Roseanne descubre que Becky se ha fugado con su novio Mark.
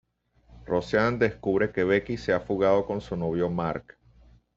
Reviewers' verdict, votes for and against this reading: accepted, 2, 0